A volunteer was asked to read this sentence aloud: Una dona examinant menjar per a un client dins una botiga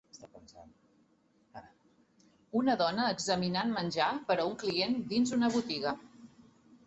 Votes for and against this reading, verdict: 4, 0, accepted